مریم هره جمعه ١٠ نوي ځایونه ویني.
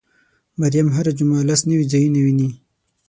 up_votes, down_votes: 0, 2